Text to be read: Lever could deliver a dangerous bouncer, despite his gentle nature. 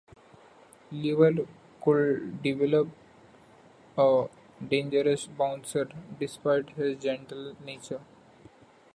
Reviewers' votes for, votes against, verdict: 0, 2, rejected